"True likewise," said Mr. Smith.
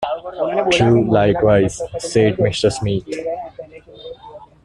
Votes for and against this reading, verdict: 0, 2, rejected